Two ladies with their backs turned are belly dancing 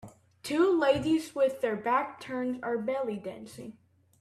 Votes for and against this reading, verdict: 1, 2, rejected